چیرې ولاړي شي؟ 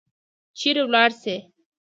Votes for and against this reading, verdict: 2, 0, accepted